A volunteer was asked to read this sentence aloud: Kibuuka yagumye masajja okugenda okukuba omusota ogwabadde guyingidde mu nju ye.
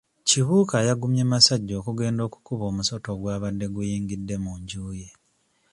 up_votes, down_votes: 2, 0